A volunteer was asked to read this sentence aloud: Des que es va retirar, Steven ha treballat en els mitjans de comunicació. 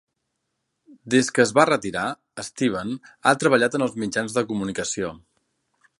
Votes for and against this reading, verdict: 2, 0, accepted